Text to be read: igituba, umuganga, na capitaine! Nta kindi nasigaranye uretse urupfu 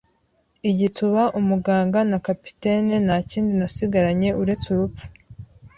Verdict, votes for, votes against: accepted, 2, 0